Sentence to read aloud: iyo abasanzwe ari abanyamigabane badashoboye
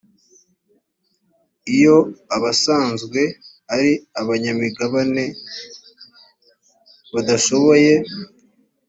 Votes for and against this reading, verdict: 2, 0, accepted